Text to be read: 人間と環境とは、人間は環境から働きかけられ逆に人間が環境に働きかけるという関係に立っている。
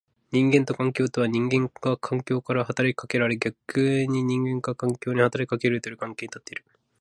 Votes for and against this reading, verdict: 1, 2, rejected